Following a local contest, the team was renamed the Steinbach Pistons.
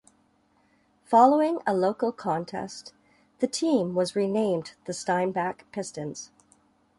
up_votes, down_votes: 2, 0